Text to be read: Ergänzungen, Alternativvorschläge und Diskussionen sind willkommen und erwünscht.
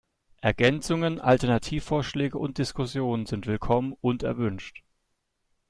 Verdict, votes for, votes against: accepted, 2, 0